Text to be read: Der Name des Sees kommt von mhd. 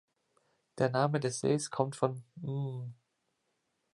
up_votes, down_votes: 1, 2